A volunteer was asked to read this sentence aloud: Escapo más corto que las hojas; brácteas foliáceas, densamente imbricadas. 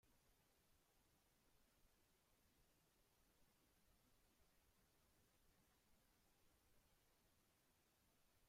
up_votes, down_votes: 0, 2